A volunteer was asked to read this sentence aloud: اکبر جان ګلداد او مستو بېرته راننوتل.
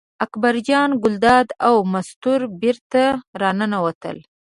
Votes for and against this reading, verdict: 0, 2, rejected